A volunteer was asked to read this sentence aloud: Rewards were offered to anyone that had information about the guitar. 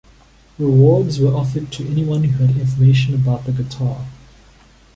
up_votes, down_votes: 1, 2